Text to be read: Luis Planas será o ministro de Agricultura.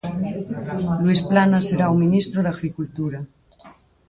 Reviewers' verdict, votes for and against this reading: rejected, 2, 4